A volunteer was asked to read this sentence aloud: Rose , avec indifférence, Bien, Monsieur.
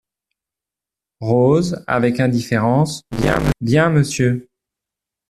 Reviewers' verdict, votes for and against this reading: rejected, 0, 2